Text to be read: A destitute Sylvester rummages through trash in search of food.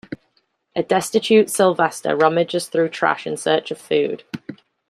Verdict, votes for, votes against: accepted, 2, 0